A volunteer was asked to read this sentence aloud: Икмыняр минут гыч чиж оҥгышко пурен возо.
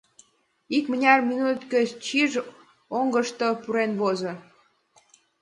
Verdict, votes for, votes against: accepted, 2, 0